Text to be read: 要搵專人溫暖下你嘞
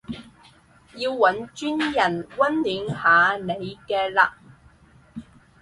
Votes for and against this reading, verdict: 0, 4, rejected